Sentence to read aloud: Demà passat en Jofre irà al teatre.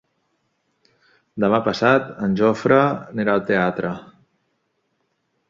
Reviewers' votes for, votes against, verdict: 1, 2, rejected